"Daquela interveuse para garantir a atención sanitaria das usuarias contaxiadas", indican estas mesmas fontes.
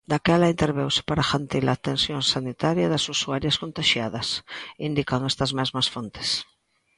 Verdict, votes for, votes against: rejected, 0, 2